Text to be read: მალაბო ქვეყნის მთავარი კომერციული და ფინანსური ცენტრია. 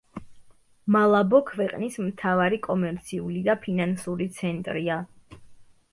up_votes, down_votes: 2, 0